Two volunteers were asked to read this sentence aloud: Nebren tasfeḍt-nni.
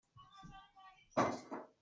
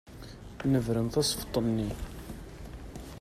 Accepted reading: second